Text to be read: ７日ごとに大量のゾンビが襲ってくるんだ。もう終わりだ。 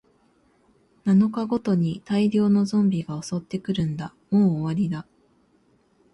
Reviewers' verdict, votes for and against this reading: rejected, 0, 2